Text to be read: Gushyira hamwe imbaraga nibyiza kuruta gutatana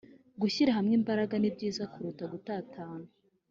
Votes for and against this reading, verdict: 4, 1, accepted